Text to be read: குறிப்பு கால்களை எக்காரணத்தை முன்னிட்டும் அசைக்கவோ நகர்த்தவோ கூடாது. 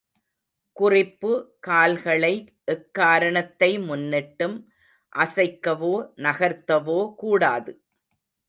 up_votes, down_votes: 2, 0